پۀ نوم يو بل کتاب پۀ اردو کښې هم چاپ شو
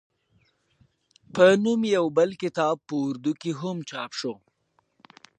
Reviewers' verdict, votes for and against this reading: accepted, 2, 0